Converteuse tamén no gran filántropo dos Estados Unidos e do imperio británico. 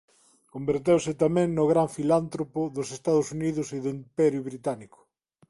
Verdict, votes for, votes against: accepted, 2, 0